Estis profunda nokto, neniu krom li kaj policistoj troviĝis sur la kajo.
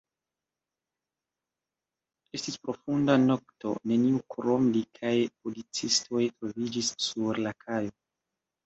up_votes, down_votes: 1, 2